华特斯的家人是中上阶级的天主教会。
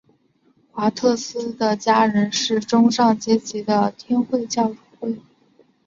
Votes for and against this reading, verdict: 0, 2, rejected